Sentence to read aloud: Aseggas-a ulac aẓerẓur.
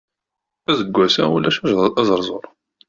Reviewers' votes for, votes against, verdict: 1, 2, rejected